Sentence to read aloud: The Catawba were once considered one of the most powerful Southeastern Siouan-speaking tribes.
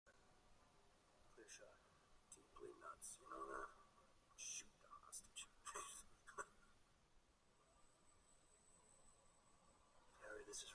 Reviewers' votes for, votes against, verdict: 0, 2, rejected